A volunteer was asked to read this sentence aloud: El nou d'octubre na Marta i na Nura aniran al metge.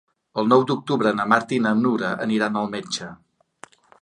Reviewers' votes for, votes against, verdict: 2, 0, accepted